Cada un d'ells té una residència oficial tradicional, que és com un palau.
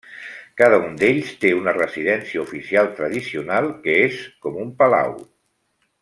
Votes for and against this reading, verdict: 0, 2, rejected